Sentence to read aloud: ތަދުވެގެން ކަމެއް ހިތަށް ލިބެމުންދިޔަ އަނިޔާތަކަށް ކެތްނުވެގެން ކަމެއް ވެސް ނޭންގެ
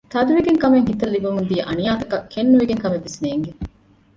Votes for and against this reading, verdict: 0, 2, rejected